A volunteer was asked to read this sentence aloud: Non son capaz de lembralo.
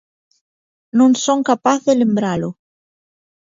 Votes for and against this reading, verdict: 2, 0, accepted